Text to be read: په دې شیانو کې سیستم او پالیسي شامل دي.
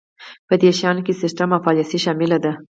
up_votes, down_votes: 4, 0